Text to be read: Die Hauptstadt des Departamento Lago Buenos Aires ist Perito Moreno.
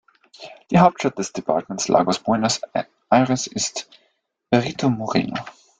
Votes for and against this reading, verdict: 0, 2, rejected